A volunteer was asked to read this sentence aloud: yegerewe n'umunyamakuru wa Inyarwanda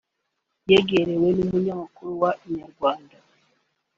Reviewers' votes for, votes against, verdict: 3, 0, accepted